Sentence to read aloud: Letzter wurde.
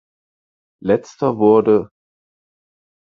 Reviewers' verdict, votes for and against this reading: accepted, 4, 0